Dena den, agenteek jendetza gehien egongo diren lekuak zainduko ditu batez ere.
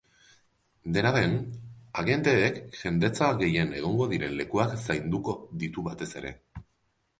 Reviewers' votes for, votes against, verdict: 2, 0, accepted